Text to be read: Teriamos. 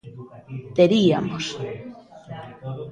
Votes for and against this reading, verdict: 0, 2, rejected